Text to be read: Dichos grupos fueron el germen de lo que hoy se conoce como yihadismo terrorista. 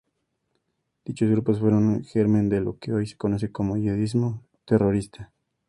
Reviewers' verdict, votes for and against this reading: accepted, 2, 0